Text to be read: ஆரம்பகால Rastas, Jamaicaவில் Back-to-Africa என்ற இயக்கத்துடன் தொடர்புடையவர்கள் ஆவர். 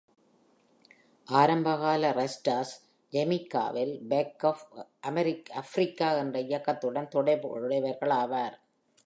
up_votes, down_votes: 0, 2